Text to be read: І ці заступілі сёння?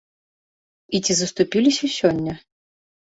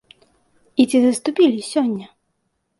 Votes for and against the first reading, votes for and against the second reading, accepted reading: 1, 2, 2, 0, second